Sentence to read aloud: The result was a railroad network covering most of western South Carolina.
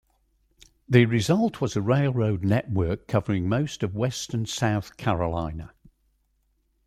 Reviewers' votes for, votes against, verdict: 2, 0, accepted